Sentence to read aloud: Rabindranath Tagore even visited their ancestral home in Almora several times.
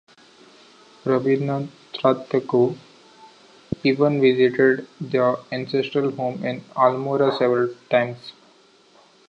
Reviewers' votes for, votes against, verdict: 2, 1, accepted